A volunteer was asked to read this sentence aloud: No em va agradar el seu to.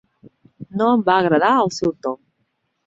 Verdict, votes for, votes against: accepted, 4, 0